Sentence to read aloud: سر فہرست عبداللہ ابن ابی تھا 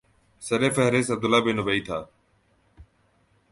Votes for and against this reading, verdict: 2, 1, accepted